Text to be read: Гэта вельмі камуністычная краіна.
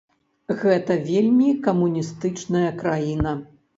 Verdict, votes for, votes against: accepted, 2, 0